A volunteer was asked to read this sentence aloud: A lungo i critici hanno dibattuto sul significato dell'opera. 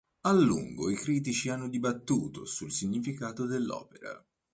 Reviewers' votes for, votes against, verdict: 2, 0, accepted